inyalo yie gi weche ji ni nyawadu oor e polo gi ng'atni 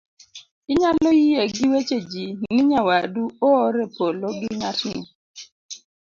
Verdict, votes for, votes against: accepted, 2, 0